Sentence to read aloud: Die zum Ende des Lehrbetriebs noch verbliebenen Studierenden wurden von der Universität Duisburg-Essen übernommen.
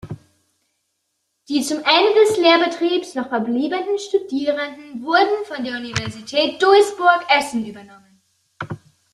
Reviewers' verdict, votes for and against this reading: rejected, 1, 2